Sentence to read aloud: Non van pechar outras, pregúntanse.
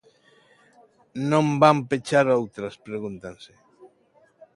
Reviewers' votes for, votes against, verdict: 2, 0, accepted